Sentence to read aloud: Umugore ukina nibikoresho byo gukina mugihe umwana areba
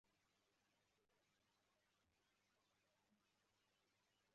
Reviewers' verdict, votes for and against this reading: rejected, 0, 2